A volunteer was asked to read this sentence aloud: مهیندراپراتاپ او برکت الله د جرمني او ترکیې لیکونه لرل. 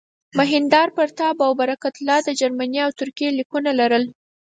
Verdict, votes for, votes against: accepted, 4, 0